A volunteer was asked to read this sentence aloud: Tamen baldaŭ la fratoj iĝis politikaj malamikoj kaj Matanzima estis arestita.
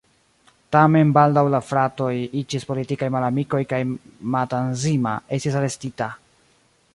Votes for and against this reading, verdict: 2, 0, accepted